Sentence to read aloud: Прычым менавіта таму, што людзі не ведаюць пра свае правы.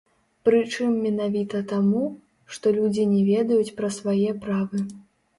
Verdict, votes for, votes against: rejected, 1, 2